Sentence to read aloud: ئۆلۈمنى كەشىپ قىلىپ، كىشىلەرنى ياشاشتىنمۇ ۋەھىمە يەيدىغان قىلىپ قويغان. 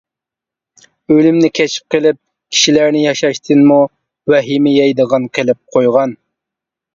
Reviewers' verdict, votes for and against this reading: accepted, 2, 0